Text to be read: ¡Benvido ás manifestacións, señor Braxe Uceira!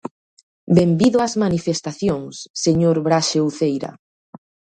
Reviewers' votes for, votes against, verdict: 2, 0, accepted